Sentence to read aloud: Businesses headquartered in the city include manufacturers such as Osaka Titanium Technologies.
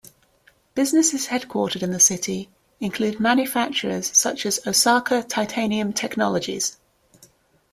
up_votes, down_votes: 2, 0